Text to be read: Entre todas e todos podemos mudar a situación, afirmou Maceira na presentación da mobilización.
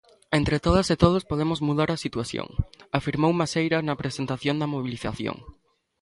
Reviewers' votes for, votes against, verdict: 2, 0, accepted